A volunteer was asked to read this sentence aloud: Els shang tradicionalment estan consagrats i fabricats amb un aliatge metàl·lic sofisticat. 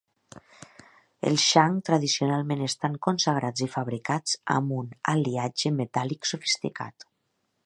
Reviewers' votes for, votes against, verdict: 2, 0, accepted